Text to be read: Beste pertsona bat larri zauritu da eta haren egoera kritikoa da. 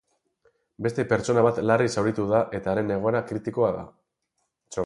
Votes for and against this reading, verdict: 2, 4, rejected